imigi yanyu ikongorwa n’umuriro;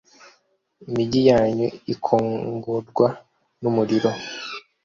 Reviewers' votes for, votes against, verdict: 2, 0, accepted